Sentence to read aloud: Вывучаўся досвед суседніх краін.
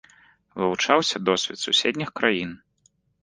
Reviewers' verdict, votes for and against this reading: accepted, 2, 0